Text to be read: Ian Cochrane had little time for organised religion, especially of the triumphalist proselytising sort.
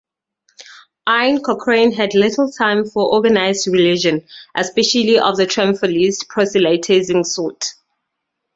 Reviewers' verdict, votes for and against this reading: rejected, 2, 4